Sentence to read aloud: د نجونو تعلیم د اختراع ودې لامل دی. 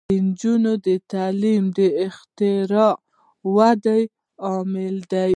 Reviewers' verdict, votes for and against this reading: rejected, 1, 2